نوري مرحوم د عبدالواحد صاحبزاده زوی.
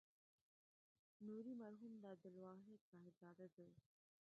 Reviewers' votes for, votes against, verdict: 0, 2, rejected